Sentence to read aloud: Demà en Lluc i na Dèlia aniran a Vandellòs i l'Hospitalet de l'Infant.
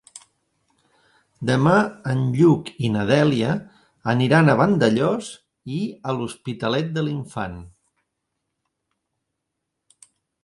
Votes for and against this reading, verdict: 0, 2, rejected